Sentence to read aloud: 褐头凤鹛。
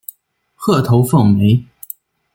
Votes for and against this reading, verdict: 2, 0, accepted